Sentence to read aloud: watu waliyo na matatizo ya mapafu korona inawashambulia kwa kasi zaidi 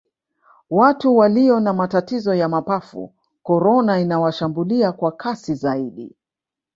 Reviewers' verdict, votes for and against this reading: rejected, 1, 2